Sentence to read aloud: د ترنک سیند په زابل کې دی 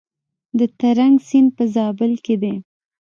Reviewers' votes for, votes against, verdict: 2, 0, accepted